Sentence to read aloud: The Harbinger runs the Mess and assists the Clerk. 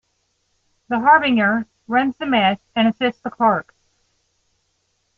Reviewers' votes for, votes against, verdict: 1, 2, rejected